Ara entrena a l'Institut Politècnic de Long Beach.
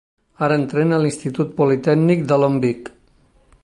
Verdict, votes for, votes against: rejected, 1, 2